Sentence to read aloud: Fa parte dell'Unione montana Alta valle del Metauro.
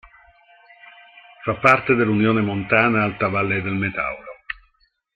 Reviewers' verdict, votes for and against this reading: accepted, 2, 0